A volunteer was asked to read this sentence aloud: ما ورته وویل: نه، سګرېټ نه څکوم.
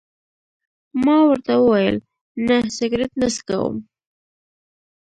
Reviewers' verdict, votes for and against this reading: rejected, 1, 2